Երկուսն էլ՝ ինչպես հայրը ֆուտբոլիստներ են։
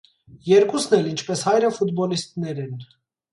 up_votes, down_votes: 2, 0